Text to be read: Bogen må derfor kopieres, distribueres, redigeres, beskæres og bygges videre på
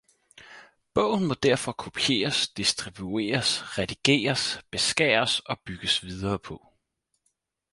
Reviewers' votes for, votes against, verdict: 4, 0, accepted